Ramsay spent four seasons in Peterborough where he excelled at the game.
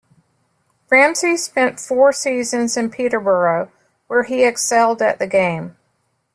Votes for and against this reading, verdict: 2, 0, accepted